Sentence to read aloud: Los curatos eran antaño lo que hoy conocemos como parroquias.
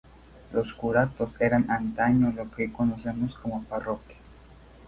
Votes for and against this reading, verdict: 2, 2, rejected